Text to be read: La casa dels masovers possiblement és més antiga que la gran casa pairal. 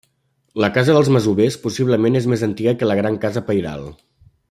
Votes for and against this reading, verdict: 2, 0, accepted